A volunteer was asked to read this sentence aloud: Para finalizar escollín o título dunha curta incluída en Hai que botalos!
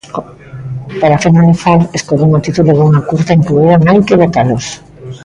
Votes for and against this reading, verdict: 0, 2, rejected